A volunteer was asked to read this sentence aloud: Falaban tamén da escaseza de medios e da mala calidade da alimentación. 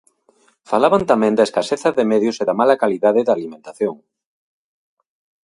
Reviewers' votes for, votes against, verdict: 2, 0, accepted